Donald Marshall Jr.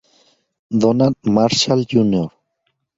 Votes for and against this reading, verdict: 2, 0, accepted